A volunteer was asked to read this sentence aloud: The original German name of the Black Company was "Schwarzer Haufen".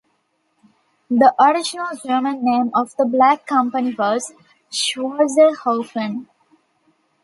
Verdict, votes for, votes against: accepted, 2, 1